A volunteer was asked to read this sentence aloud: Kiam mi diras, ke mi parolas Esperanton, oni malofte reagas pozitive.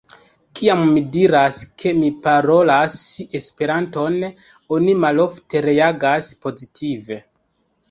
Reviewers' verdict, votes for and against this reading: accepted, 2, 0